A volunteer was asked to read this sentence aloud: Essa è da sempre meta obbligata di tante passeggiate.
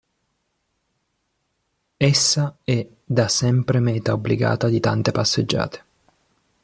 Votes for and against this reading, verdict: 3, 0, accepted